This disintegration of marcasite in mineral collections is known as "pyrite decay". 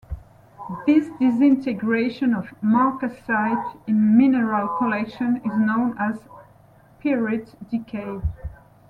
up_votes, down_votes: 2, 0